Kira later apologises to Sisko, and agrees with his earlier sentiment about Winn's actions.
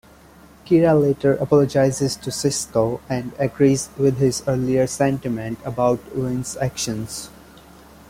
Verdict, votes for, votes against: accepted, 2, 0